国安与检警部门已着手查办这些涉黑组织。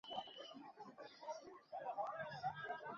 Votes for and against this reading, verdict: 0, 4, rejected